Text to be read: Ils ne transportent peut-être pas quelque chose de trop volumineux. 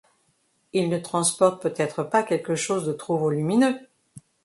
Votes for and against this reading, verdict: 2, 0, accepted